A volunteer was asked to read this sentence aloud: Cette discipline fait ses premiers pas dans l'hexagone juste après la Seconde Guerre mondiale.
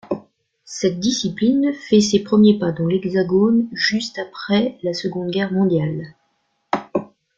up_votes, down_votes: 2, 0